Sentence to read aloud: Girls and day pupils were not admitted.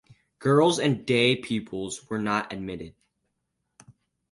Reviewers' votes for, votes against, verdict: 4, 0, accepted